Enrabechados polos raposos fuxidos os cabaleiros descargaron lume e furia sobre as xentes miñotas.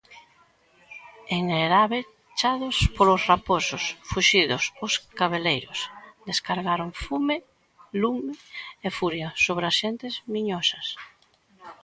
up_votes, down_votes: 0, 2